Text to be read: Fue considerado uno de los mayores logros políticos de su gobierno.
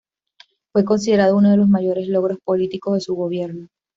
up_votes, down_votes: 2, 1